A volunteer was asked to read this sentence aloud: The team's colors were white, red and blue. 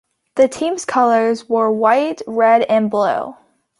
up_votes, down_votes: 2, 0